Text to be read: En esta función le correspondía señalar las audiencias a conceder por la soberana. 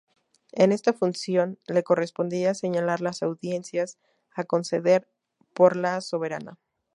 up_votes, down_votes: 2, 0